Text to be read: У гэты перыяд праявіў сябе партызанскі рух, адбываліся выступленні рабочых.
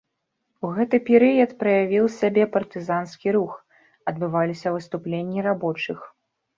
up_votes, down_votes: 0, 2